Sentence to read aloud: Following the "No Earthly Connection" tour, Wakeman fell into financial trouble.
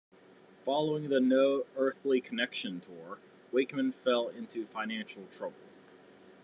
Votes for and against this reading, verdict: 2, 0, accepted